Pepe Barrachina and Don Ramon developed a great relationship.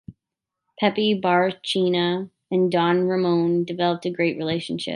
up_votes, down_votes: 2, 1